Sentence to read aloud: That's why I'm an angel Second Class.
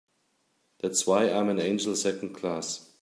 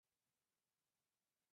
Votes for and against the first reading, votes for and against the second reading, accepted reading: 2, 0, 0, 2, first